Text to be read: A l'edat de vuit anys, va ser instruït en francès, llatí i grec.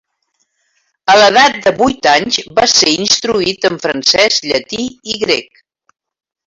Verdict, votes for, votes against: rejected, 0, 2